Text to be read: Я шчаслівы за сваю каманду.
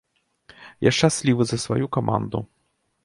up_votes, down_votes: 2, 1